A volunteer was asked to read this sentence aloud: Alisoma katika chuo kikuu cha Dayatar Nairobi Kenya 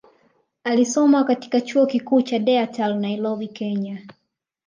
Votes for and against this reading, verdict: 2, 0, accepted